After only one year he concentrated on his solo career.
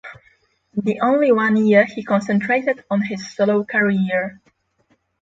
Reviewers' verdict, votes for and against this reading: rejected, 0, 6